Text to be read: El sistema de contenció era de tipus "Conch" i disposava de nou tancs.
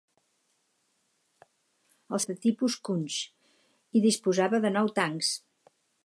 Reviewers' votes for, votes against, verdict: 2, 4, rejected